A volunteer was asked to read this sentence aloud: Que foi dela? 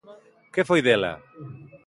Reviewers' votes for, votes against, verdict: 2, 0, accepted